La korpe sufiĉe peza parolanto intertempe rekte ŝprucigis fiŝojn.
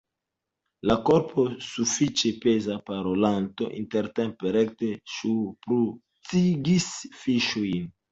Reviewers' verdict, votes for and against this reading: rejected, 0, 2